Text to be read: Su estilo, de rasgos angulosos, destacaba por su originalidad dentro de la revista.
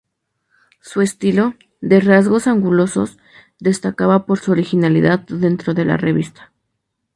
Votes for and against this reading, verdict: 2, 0, accepted